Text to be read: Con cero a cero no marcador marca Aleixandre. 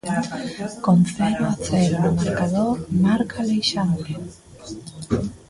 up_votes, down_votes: 1, 2